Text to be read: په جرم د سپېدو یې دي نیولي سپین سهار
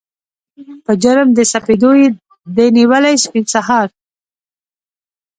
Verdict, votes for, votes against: rejected, 0, 2